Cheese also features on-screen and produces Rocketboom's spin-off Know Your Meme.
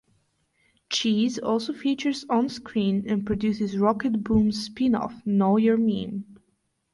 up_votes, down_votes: 2, 2